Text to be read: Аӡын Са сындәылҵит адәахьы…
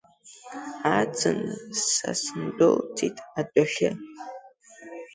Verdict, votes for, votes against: accepted, 2, 0